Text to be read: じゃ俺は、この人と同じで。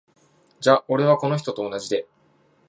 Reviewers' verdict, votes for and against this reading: accepted, 3, 0